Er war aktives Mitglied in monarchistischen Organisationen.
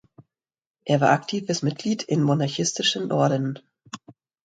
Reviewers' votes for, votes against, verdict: 0, 2, rejected